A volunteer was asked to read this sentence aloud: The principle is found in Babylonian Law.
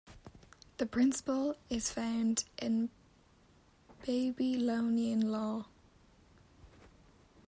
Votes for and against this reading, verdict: 0, 2, rejected